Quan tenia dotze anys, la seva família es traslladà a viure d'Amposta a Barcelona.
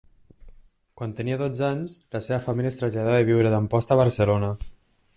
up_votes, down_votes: 1, 2